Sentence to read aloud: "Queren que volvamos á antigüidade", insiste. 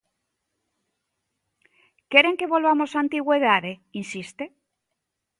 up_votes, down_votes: 0, 2